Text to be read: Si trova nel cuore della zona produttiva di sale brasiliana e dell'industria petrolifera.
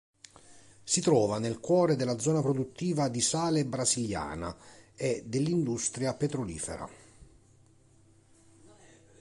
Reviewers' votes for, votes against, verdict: 2, 0, accepted